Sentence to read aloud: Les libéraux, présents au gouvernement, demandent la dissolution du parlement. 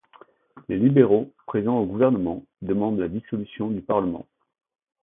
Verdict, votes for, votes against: accepted, 2, 1